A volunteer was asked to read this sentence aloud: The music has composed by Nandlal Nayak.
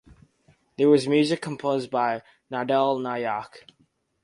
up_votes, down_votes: 0, 2